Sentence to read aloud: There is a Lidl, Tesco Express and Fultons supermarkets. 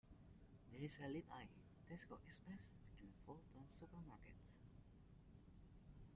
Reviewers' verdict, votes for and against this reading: rejected, 1, 2